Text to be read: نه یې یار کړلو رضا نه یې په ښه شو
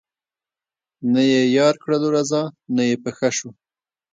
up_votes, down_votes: 2, 0